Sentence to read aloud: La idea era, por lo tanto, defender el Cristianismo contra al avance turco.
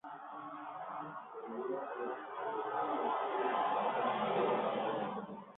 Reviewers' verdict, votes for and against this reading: rejected, 0, 2